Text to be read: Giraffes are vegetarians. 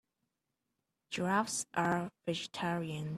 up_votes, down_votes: 1, 2